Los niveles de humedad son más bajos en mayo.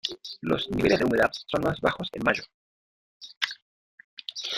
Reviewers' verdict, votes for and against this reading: rejected, 0, 2